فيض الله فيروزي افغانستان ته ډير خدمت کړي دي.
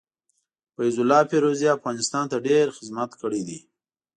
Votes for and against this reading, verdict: 2, 0, accepted